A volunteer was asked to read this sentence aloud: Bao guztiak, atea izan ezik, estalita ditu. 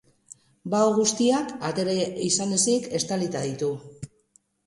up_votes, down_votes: 2, 2